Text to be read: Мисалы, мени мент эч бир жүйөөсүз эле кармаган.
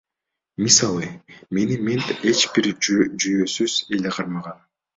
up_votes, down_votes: 2, 1